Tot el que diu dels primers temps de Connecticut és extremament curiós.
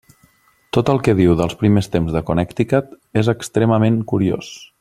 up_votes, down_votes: 3, 0